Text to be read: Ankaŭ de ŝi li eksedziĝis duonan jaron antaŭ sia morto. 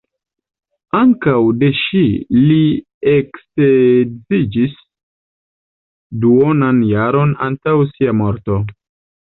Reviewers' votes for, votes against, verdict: 2, 1, accepted